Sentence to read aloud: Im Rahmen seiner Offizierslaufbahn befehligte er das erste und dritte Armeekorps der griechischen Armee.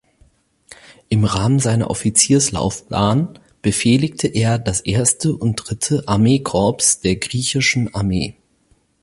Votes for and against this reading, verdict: 2, 4, rejected